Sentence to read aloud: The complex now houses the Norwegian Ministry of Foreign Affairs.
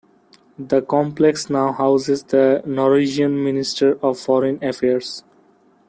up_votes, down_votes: 1, 2